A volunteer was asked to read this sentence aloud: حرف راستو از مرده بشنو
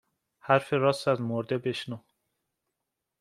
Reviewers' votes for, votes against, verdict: 2, 0, accepted